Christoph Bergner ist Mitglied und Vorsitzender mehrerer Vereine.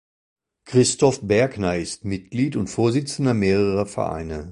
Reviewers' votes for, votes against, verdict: 2, 0, accepted